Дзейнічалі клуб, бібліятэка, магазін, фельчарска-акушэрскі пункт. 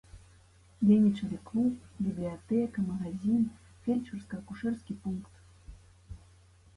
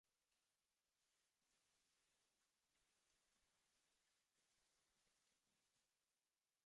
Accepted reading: first